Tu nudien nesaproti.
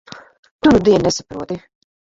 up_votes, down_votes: 1, 2